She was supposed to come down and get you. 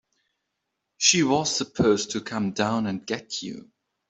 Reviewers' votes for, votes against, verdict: 3, 0, accepted